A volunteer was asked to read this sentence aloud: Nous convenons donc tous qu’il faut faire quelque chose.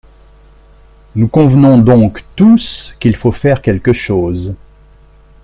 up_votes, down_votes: 3, 0